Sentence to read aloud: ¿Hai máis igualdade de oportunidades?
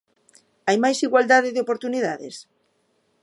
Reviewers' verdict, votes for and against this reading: accepted, 2, 0